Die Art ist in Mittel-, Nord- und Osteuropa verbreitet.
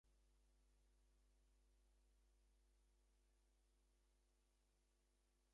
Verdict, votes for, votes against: rejected, 0, 2